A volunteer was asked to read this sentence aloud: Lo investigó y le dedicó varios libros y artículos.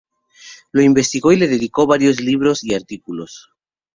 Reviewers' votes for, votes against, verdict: 2, 0, accepted